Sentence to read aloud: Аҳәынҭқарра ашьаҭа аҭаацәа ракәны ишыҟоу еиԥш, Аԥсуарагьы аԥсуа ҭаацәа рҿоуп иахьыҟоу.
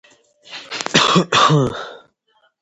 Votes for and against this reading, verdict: 0, 2, rejected